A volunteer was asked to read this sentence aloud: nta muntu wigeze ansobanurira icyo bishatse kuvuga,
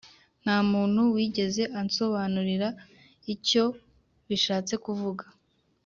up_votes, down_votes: 2, 0